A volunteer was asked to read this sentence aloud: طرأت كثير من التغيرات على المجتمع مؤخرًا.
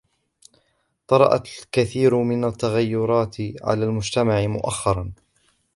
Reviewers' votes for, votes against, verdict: 1, 2, rejected